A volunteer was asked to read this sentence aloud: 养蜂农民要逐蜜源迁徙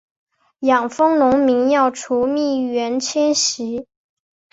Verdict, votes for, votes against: accepted, 2, 0